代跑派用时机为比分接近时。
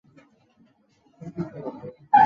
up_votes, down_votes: 1, 2